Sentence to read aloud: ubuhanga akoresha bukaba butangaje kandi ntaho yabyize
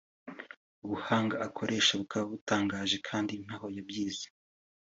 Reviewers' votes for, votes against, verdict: 2, 0, accepted